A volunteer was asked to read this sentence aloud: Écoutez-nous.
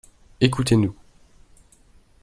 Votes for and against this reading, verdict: 2, 0, accepted